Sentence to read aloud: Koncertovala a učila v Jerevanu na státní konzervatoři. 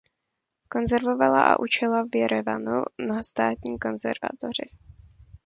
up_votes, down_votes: 1, 2